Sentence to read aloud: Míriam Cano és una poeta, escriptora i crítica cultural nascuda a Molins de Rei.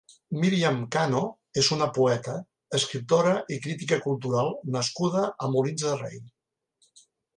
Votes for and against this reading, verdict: 2, 0, accepted